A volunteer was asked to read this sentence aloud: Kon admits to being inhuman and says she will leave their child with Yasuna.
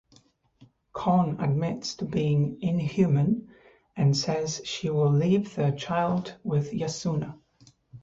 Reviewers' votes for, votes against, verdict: 4, 0, accepted